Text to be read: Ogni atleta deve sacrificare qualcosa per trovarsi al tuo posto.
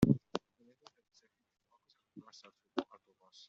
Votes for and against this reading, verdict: 0, 2, rejected